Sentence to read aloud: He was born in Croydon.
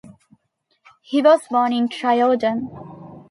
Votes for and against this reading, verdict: 0, 2, rejected